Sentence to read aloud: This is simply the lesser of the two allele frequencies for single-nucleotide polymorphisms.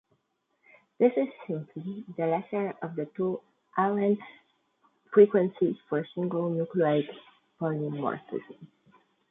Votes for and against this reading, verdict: 0, 2, rejected